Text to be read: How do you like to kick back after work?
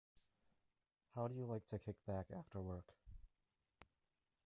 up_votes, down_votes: 0, 2